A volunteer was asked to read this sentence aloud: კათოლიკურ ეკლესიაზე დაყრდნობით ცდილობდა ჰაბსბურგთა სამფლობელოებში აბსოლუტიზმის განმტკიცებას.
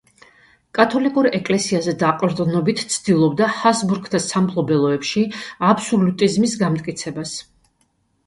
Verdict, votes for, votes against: rejected, 1, 2